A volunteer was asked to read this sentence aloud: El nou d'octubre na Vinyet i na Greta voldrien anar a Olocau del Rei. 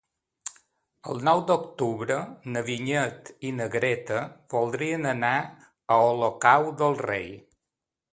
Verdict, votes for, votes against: accepted, 2, 0